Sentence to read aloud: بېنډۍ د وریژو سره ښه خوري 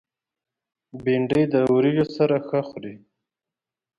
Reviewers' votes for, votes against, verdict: 2, 0, accepted